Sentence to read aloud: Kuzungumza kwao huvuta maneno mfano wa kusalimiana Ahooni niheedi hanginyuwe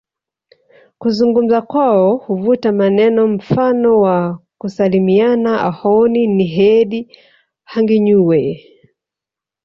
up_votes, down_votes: 2, 1